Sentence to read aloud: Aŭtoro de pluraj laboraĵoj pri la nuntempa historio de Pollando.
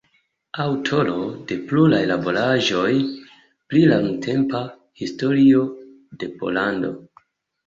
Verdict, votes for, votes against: accepted, 2, 0